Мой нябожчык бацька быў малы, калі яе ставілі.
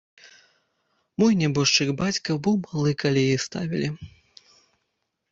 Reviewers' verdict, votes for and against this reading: rejected, 1, 2